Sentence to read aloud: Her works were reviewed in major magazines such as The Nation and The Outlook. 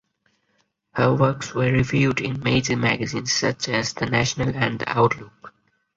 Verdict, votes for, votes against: accepted, 4, 2